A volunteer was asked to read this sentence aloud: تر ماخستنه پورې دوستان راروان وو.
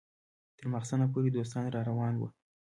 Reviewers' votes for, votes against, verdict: 2, 1, accepted